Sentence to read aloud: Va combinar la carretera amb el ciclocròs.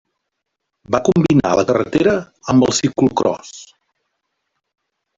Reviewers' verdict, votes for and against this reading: rejected, 1, 2